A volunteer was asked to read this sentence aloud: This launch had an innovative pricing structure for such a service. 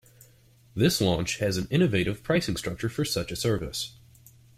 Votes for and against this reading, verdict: 1, 2, rejected